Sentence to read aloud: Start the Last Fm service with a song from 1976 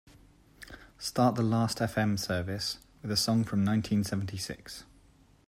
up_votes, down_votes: 0, 2